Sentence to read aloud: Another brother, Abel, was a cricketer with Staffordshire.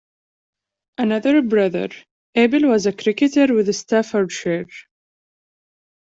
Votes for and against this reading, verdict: 1, 2, rejected